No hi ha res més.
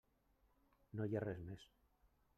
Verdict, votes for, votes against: rejected, 0, 2